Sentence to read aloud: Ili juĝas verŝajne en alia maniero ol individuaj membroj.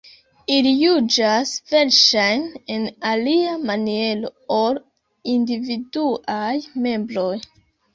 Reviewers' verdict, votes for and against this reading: rejected, 0, 2